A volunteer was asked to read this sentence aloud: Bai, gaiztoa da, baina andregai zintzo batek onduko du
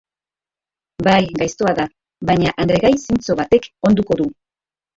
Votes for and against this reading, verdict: 0, 2, rejected